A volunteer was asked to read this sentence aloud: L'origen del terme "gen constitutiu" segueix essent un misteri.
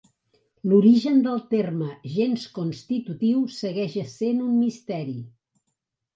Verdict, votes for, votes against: rejected, 1, 3